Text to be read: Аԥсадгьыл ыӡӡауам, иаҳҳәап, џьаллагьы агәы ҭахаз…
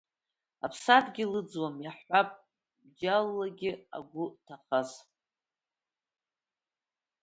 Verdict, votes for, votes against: accepted, 2, 1